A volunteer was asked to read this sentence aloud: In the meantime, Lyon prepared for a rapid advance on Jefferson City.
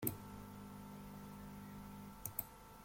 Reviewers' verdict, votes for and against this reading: rejected, 0, 2